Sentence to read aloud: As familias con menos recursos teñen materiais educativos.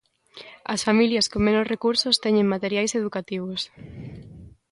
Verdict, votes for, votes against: accepted, 2, 0